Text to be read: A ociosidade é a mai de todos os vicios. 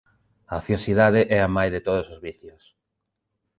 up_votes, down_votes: 0, 2